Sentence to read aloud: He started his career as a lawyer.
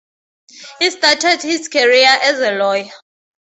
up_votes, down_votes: 2, 2